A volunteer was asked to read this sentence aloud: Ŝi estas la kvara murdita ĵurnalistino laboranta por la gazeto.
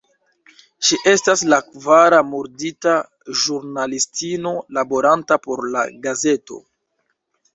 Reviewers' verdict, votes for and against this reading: rejected, 0, 2